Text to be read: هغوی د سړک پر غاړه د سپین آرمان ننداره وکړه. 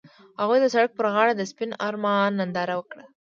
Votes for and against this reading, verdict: 2, 0, accepted